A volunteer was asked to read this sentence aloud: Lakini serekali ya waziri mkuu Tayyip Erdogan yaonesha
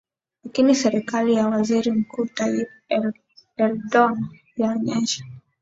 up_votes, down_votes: 2, 0